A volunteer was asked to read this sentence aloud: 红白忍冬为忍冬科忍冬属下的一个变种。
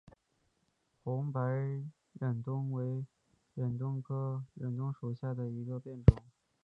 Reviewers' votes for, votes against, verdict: 2, 1, accepted